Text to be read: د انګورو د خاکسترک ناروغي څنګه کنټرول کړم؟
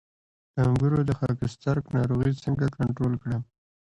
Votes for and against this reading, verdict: 0, 2, rejected